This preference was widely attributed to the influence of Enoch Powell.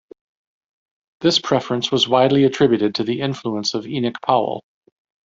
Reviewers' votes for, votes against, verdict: 1, 2, rejected